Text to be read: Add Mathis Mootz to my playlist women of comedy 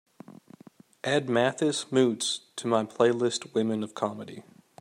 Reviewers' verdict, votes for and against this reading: accepted, 2, 0